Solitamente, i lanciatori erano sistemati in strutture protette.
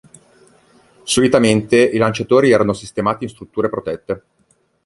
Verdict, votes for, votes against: accepted, 2, 0